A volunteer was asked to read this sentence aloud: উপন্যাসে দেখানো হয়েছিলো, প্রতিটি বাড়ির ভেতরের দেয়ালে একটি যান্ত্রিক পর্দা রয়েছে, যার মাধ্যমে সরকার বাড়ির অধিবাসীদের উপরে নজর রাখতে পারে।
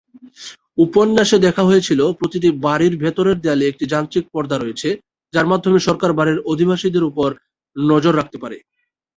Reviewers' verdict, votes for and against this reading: rejected, 0, 2